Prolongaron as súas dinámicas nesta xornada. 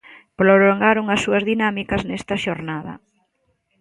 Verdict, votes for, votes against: accepted, 2, 0